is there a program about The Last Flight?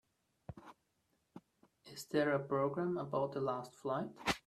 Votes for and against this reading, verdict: 1, 2, rejected